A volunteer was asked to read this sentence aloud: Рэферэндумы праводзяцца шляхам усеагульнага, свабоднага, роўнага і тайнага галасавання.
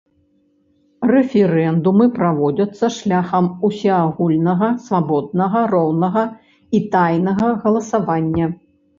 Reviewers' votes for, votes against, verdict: 2, 0, accepted